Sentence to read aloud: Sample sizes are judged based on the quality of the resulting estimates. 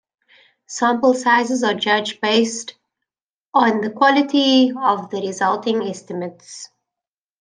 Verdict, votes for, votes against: accepted, 2, 0